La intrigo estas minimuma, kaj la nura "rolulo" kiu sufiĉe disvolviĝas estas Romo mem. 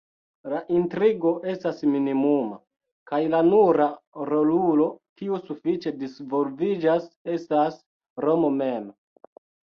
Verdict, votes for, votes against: accepted, 2, 0